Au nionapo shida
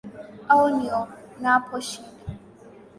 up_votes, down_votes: 3, 0